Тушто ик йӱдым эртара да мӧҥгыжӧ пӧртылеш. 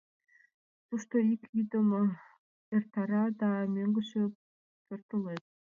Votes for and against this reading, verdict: 0, 2, rejected